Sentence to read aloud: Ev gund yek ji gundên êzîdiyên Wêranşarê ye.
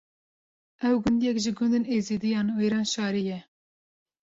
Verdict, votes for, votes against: rejected, 1, 2